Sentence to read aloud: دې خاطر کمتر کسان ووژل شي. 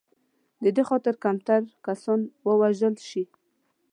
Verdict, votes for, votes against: accepted, 2, 0